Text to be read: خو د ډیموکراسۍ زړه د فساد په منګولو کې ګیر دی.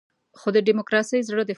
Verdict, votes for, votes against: rejected, 0, 2